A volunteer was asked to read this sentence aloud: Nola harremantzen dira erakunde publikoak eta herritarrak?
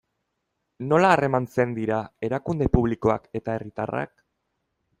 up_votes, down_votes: 2, 0